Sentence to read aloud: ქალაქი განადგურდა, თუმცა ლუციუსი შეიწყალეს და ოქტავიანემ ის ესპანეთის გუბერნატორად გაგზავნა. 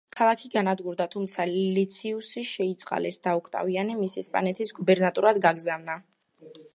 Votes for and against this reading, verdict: 1, 2, rejected